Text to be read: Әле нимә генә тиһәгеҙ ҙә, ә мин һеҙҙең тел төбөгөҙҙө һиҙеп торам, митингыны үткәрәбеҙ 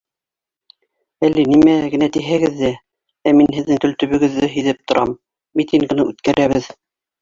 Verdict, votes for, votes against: rejected, 0, 2